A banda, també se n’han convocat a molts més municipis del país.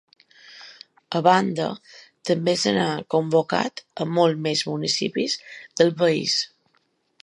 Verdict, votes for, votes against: rejected, 0, 2